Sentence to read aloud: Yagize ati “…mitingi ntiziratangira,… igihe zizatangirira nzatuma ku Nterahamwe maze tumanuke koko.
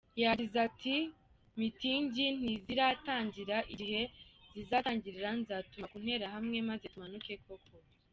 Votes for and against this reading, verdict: 1, 2, rejected